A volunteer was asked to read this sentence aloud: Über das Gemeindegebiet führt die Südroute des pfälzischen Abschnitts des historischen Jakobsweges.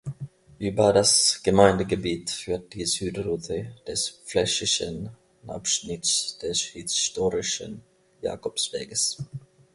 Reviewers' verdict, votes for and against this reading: rejected, 1, 2